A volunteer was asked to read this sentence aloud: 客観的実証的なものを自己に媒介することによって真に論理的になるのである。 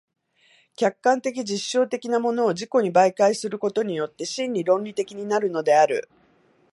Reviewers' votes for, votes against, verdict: 2, 0, accepted